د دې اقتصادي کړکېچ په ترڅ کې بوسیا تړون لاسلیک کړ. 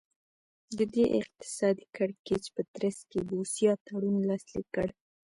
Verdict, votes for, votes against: rejected, 0, 2